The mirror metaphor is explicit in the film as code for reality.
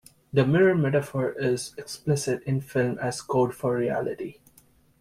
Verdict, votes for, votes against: rejected, 0, 2